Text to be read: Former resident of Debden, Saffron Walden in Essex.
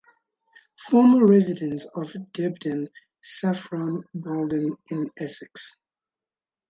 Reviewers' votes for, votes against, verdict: 4, 2, accepted